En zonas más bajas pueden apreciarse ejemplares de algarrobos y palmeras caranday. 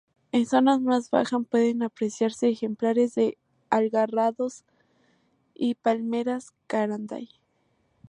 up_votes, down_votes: 0, 2